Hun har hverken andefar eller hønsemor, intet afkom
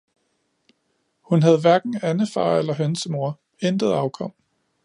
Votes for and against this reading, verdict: 0, 2, rejected